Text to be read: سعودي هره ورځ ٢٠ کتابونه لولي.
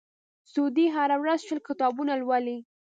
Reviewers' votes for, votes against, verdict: 0, 2, rejected